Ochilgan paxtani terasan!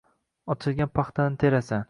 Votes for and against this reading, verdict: 2, 1, accepted